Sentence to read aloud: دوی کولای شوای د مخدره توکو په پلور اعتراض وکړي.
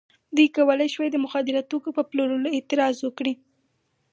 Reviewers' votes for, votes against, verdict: 2, 2, rejected